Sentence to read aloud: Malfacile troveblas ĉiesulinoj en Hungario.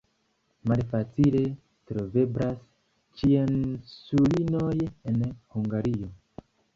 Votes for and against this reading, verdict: 3, 1, accepted